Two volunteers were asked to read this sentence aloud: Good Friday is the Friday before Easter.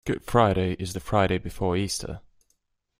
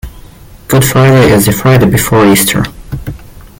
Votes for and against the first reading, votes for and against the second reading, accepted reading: 2, 0, 1, 2, first